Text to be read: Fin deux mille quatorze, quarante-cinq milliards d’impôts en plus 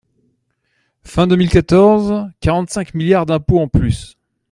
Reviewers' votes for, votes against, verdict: 1, 2, rejected